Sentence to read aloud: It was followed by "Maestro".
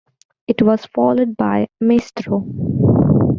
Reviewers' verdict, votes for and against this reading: accepted, 2, 0